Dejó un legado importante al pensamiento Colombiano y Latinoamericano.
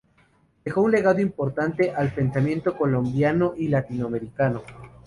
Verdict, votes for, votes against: accepted, 2, 0